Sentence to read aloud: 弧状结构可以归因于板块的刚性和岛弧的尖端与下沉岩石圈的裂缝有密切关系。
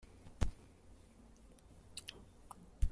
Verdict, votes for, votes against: rejected, 0, 2